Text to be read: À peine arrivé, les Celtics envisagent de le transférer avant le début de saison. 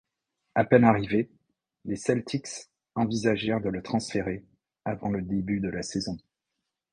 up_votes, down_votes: 1, 2